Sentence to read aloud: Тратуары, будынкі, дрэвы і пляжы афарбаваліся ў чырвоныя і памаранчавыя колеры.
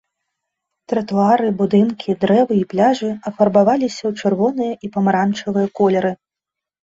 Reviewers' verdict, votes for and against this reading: accepted, 2, 0